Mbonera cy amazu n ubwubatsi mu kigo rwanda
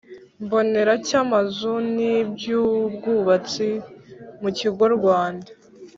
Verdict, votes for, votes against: rejected, 1, 2